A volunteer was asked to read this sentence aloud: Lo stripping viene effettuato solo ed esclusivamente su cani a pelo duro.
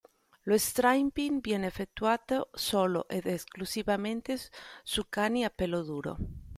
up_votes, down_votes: 1, 2